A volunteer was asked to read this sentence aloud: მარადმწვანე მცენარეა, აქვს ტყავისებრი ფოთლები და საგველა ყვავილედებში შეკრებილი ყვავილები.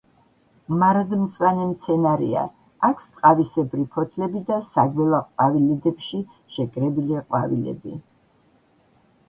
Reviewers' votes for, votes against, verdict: 2, 1, accepted